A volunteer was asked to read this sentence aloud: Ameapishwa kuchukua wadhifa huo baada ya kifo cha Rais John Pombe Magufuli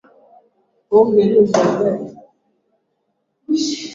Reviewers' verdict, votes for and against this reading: rejected, 0, 2